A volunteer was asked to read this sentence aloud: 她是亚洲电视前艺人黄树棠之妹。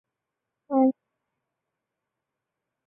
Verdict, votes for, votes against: rejected, 0, 2